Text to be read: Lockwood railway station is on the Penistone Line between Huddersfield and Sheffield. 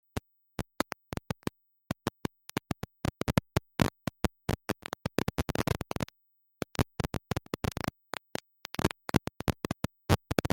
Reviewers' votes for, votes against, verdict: 0, 2, rejected